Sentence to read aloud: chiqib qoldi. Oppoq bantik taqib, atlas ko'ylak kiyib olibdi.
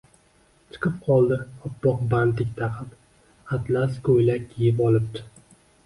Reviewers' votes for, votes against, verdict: 0, 2, rejected